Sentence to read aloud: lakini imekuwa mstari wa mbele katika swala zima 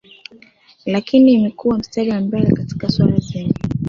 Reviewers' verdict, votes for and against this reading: accepted, 2, 1